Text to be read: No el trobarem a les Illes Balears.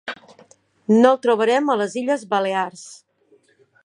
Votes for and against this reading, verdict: 1, 2, rejected